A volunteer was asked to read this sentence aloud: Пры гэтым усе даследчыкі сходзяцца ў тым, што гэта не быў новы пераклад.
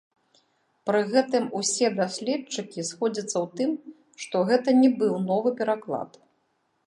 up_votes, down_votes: 1, 2